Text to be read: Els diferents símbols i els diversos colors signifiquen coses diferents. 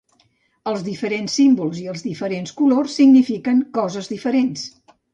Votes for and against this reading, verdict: 0, 2, rejected